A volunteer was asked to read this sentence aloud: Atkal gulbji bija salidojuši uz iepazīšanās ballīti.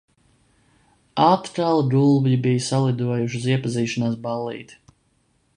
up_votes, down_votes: 0, 2